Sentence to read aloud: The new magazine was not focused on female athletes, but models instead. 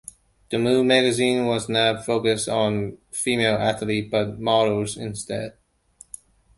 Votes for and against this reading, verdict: 1, 2, rejected